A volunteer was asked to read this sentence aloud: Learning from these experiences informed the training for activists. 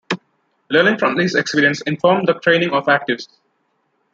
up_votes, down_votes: 1, 2